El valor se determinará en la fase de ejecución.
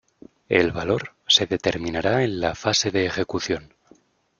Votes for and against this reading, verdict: 2, 0, accepted